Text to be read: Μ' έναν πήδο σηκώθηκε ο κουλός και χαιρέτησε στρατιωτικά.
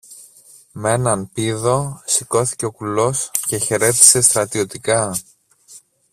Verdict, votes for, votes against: accepted, 2, 0